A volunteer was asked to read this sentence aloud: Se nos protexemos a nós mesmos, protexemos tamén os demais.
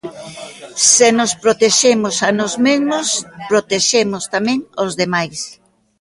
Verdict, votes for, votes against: accepted, 2, 0